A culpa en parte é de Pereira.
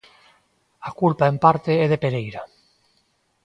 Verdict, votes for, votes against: accepted, 2, 0